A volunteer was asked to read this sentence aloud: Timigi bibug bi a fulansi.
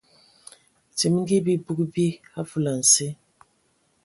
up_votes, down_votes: 2, 0